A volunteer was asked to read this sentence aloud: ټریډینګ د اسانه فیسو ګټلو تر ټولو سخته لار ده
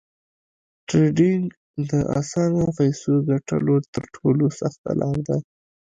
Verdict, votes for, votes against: rejected, 1, 2